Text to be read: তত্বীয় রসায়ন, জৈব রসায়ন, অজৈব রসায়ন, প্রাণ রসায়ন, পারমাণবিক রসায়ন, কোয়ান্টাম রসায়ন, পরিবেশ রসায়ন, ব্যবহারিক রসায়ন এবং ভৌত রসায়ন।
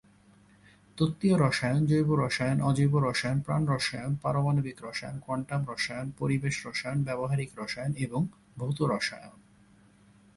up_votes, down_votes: 3, 0